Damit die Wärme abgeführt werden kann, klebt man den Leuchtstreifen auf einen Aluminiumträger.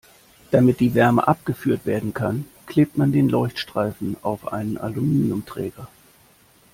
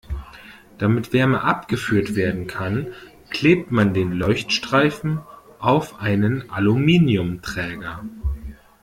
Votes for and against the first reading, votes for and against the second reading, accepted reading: 2, 0, 1, 2, first